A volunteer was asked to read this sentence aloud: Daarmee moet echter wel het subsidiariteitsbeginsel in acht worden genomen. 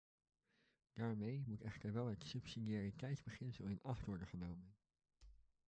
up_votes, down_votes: 1, 2